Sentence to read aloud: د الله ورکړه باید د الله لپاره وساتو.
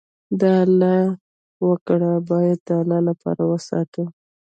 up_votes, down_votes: 1, 2